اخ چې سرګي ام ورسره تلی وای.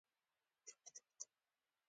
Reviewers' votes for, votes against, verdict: 1, 2, rejected